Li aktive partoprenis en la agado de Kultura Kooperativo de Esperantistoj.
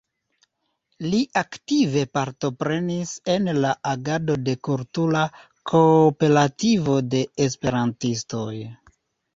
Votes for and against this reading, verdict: 1, 2, rejected